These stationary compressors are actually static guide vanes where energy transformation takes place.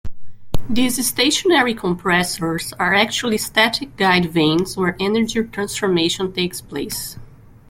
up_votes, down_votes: 2, 0